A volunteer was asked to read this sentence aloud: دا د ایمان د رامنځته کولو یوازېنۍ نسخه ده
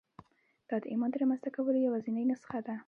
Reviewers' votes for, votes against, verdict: 2, 0, accepted